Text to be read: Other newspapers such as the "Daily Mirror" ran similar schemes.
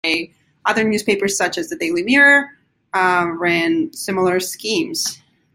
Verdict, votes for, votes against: rejected, 0, 2